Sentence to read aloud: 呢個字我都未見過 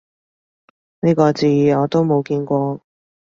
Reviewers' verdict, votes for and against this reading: rejected, 1, 2